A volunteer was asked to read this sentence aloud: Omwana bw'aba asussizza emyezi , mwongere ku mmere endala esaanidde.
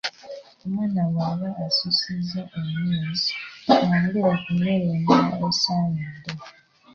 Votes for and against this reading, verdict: 2, 0, accepted